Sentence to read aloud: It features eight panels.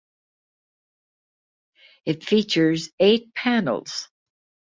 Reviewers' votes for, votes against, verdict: 2, 0, accepted